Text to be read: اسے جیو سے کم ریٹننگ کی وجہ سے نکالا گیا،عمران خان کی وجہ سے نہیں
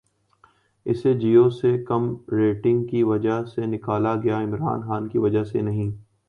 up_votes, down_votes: 3, 0